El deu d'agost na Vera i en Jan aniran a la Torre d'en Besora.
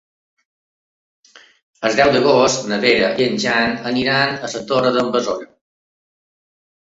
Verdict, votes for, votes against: rejected, 0, 2